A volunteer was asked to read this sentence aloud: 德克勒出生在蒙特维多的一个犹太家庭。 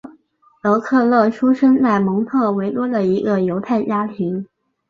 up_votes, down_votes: 4, 0